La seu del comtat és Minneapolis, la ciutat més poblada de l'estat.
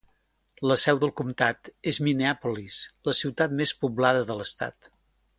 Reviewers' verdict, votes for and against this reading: accepted, 3, 0